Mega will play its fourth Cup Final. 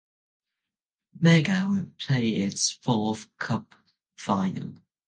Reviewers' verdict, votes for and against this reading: rejected, 0, 2